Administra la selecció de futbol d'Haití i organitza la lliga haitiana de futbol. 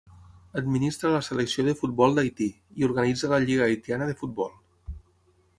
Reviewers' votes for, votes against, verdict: 6, 0, accepted